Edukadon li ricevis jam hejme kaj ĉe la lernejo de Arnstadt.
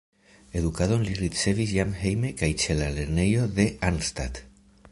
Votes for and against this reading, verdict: 2, 0, accepted